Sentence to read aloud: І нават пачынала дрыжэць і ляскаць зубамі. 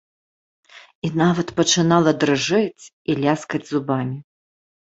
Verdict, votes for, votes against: accepted, 2, 0